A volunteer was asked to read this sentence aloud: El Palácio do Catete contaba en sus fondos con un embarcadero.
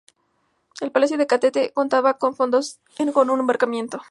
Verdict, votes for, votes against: rejected, 0, 4